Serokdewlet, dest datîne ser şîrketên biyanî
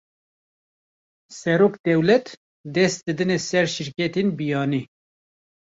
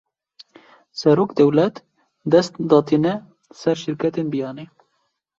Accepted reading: second